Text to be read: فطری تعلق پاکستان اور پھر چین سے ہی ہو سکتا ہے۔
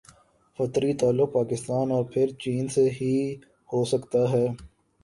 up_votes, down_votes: 2, 1